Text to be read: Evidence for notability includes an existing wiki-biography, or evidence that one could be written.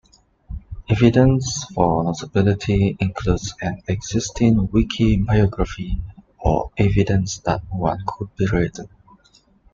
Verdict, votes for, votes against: rejected, 1, 2